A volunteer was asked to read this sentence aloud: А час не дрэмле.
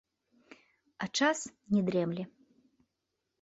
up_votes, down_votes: 1, 2